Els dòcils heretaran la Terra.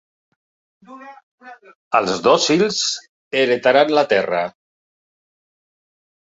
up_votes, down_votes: 0, 2